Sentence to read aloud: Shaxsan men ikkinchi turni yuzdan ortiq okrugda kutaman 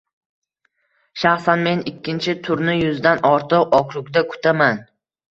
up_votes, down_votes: 2, 0